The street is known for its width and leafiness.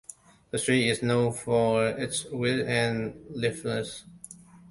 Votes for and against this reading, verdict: 0, 2, rejected